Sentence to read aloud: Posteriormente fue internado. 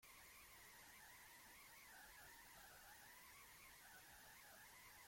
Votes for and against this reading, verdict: 0, 2, rejected